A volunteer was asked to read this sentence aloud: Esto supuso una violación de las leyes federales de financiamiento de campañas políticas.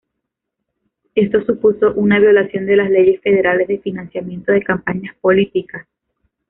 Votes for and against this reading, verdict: 2, 0, accepted